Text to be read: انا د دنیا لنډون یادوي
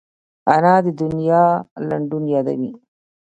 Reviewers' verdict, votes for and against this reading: accepted, 2, 0